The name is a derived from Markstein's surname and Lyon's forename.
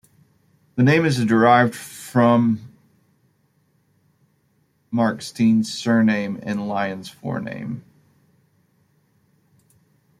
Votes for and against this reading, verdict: 1, 2, rejected